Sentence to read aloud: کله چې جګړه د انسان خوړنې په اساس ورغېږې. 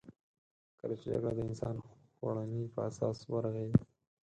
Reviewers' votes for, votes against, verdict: 2, 4, rejected